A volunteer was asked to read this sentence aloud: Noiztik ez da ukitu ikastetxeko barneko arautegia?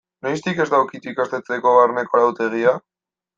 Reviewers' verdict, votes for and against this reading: accepted, 2, 0